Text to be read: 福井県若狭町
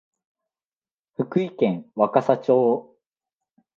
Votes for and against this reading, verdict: 2, 0, accepted